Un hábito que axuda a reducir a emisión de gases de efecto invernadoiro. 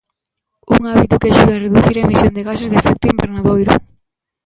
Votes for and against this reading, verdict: 0, 2, rejected